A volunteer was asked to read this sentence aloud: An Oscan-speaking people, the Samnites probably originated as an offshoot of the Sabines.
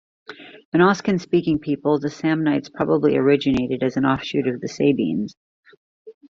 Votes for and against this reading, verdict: 2, 0, accepted